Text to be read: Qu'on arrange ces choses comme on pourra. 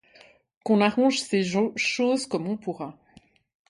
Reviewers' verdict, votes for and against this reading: accepted, 2, 0